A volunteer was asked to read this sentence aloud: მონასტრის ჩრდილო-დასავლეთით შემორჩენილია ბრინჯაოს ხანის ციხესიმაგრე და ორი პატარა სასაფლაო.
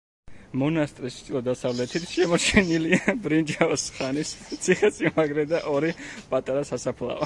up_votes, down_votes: 1, 2